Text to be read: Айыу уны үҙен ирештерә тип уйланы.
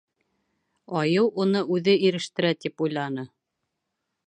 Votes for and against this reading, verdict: 1, 2, rejected